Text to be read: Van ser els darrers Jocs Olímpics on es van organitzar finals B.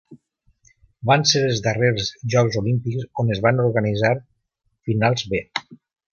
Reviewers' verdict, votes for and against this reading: accepted, 2, 0